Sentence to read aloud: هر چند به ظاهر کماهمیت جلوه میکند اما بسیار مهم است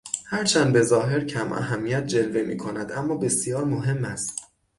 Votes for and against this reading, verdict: 6, 0, accepted